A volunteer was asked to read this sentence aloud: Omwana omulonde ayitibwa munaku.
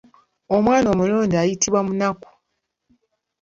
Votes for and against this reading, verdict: 2, 0, accepted